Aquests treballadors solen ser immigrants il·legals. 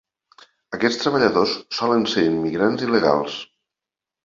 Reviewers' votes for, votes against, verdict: 2, 0, accepted